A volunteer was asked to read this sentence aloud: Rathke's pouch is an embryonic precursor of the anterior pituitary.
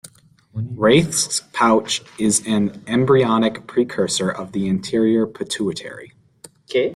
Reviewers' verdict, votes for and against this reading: rejected, 0, 2